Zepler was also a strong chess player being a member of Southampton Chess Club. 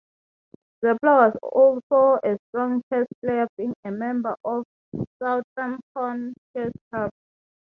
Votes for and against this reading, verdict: 3, 6, rejected